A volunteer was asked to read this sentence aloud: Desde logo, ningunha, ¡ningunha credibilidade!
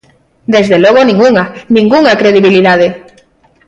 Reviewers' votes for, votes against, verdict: 2, 0, accepted